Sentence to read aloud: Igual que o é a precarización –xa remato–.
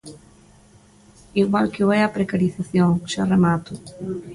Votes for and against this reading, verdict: 0, 2, rejected